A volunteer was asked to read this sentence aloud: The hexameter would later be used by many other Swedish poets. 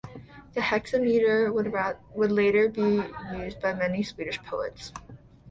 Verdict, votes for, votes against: rejected, 0, 2